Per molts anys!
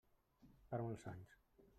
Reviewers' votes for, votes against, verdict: 0, 2, rejected